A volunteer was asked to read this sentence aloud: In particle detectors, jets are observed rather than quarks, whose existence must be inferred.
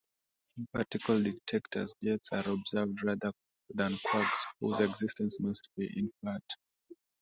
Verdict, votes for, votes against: rejected, 1, 3